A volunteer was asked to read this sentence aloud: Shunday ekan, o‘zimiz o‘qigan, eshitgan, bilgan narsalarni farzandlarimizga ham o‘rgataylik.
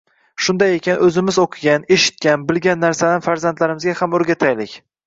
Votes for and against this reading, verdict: 2, 0, accepted